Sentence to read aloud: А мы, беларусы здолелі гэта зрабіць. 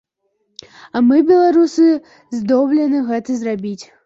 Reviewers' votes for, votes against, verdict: 0, 2, rejected